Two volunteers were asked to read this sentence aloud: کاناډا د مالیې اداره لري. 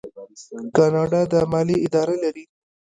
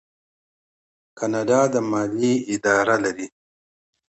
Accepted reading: second